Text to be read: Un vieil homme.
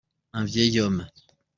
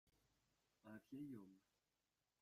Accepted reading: first